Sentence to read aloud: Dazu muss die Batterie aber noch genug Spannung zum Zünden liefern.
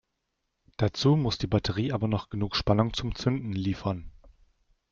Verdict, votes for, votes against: accepted, 2, 0